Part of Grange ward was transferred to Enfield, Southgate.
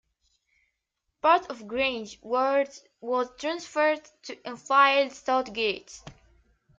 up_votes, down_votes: 0, 2